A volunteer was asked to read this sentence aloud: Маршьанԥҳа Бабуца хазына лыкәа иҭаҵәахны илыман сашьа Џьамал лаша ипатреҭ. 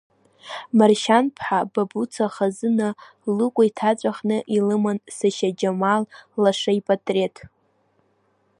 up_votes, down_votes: 2, 1